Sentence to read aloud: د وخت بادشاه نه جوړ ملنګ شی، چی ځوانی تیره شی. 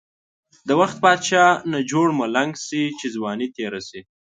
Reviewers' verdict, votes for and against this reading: accepted, 2, 0